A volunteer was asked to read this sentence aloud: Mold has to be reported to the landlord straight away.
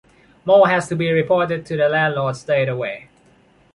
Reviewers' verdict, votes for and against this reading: rejected, 0, 2